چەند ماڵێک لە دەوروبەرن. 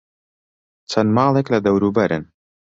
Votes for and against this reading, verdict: 2, 0, accepted